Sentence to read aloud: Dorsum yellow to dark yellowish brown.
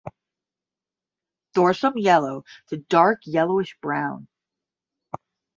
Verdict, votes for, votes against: accepted, 10, 0